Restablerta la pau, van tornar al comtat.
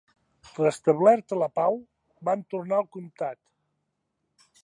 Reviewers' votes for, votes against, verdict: 2, 0, accepted